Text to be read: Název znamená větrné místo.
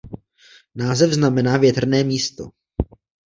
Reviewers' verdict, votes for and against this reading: accepted, 2, 0